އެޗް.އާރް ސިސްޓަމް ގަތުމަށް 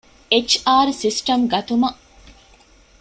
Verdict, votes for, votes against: accepted, 2, 0